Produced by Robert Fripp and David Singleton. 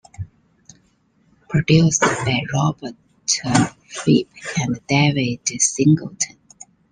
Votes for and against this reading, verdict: 0, 2, rejected